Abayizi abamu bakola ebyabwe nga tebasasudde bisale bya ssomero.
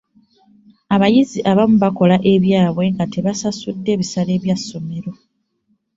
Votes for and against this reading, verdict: 2, 0, accepted